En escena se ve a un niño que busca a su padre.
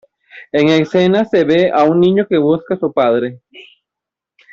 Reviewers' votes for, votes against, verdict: 2, 3, rejected